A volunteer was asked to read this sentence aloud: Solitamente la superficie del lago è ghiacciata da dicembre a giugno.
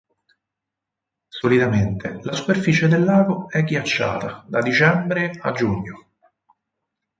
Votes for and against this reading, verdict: 4, 0, accepted